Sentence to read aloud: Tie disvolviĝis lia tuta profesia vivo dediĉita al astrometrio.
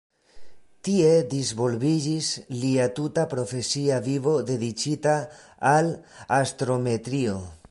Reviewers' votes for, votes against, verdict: 2, 0, accepted